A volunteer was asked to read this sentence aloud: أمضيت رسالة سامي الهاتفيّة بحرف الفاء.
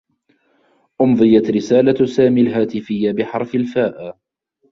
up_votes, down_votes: 2, 1